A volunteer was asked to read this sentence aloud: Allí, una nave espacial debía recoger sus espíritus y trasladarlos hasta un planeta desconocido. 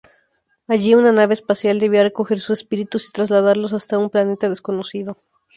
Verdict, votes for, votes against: accepted, 2, 0